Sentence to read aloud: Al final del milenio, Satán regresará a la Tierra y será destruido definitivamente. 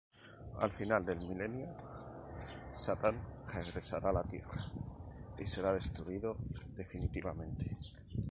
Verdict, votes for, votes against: accepted, 2, 0